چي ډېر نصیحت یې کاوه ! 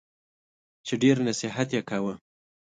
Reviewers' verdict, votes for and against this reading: accepted, 2, 0